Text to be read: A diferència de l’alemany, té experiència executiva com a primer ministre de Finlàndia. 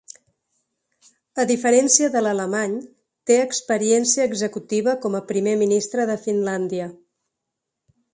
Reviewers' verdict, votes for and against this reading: accepted, 3, 0